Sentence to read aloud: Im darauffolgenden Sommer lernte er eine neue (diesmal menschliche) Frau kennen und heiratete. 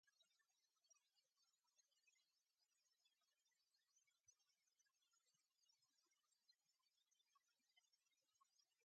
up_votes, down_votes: 0, 2